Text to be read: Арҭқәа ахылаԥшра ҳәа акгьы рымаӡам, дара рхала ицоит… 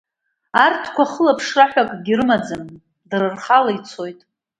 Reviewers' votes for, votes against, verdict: 2, 0, accepted